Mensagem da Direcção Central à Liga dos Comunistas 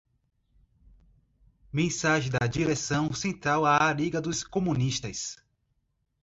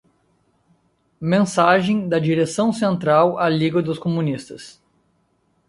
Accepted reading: second